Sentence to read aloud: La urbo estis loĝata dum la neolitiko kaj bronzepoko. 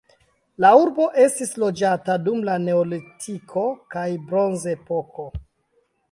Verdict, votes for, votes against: accepted, 2, 1